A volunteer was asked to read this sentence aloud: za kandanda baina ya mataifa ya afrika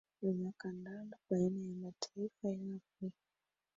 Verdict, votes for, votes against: accepted, 2, 1